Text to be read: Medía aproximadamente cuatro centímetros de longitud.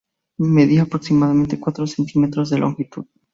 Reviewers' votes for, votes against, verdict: 4, 0, accepted